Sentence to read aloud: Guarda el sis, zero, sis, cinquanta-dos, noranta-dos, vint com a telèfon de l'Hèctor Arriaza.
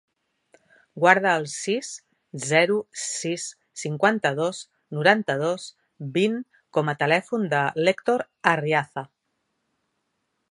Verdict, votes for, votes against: accepted, 2, 0